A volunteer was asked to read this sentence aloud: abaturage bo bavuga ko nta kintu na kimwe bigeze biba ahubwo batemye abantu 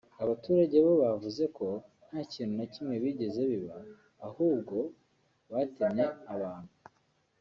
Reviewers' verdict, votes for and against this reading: rejected, 1, 2